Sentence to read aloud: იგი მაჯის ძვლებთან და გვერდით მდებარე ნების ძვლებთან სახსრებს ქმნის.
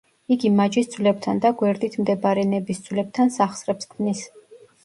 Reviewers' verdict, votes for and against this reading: accepted, 2, 0